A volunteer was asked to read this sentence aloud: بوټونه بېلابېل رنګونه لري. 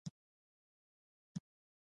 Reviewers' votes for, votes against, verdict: 0, 2, rejected